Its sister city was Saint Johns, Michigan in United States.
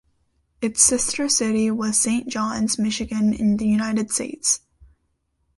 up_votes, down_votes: 1, 2